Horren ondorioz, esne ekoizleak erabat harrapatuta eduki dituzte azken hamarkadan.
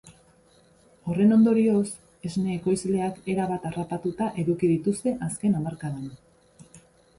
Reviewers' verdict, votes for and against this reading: accepted, 6, 0